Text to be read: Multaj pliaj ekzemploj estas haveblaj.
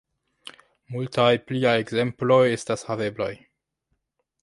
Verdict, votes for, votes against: rejected, 1, 2